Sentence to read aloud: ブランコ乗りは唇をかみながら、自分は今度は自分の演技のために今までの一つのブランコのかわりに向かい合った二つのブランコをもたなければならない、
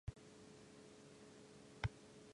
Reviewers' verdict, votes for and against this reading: rejected, 1, 5